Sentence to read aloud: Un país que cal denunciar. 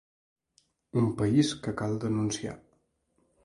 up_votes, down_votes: 3, 0